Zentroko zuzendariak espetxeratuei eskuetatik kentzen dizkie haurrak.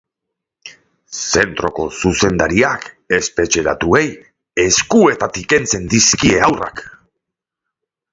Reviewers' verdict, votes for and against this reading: accepted, 2, 1